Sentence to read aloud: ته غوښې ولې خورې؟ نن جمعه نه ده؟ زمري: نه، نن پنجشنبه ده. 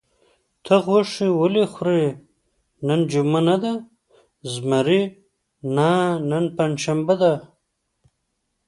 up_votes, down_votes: 2, 0